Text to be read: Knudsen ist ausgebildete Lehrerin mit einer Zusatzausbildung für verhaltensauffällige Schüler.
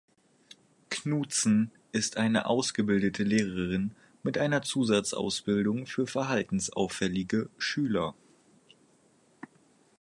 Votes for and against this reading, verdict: 2, 4, rejected